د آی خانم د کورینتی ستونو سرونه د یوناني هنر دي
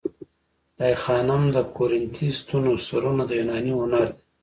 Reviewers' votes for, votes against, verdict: 2, 1, accepted